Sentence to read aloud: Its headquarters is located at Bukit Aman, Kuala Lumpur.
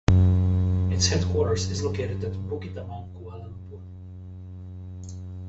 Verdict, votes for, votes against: rejected, 0, 2